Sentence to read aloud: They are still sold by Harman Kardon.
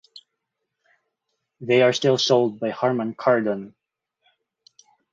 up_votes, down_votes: 4, 0